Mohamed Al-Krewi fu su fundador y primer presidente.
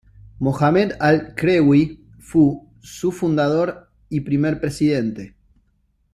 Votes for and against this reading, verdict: 2, 0, accepted